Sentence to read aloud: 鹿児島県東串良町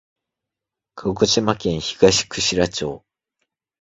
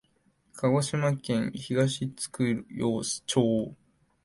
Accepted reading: first